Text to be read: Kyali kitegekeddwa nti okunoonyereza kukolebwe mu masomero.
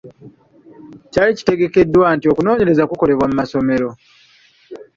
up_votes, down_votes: 1, 2